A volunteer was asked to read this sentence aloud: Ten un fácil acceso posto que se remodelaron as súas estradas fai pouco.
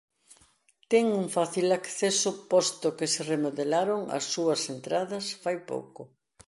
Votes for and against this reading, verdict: 0, 2, rejected